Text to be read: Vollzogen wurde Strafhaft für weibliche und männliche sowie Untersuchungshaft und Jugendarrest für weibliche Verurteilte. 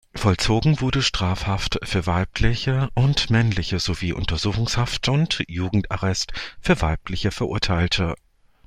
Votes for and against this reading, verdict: 2, 0, accepted